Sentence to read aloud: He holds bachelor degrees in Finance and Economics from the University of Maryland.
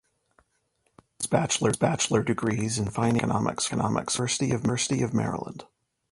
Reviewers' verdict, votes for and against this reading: rejected, 0, 2